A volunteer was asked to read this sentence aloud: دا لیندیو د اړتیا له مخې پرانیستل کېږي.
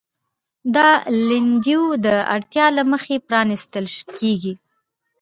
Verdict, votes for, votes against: rejected, 0, 2